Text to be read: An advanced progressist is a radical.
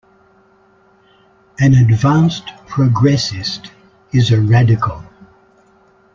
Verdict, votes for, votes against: accepted, 2, 0